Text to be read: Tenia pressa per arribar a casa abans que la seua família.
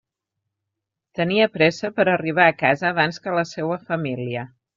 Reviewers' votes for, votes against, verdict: 3, 0, accepted